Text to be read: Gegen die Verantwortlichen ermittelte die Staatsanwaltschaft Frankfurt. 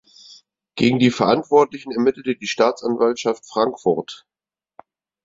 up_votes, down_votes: 6, 0